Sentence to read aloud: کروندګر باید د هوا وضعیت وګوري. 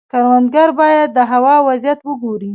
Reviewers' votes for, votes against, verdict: 0, 2, rejected